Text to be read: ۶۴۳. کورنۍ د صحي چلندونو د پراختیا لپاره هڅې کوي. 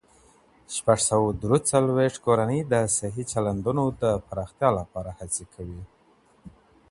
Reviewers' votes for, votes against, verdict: 0, 2, rejected